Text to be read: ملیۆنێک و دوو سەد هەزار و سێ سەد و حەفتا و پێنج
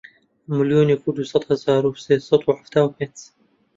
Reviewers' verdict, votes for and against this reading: accepted, 3, 1